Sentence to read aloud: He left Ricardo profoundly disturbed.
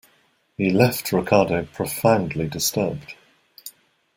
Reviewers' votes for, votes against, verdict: 2, 0, accepted